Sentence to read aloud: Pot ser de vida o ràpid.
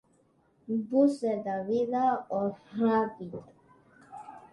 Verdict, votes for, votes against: rejected, 2, 3